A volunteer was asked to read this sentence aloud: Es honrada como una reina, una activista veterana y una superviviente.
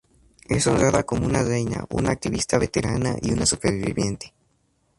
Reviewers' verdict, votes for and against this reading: accepted, 2, 0